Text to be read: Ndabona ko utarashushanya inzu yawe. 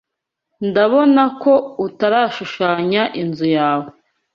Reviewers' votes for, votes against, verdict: 2, 0, accepted